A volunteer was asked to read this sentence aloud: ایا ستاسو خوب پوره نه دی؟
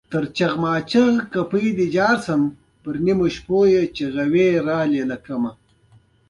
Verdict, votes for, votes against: accepted, 2, 0